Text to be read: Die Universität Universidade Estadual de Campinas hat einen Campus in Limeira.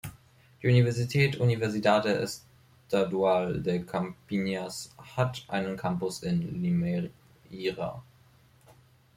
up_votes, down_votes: 0, 3